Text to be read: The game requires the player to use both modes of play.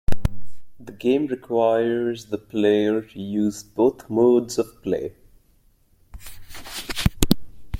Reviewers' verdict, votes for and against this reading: accepted, 2, 0